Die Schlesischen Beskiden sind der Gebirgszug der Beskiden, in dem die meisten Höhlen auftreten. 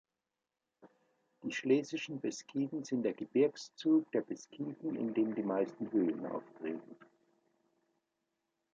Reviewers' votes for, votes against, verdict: 2, 1, accepted